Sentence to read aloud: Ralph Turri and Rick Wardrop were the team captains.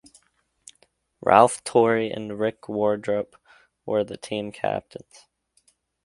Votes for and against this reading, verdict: 2, 0, accepted